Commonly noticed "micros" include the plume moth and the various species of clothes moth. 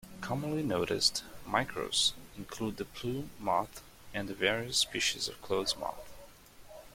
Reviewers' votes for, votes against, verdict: 2, 1, accepted